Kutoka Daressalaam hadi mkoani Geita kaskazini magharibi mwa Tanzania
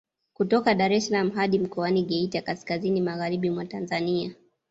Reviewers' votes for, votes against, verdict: 2, 0, accepted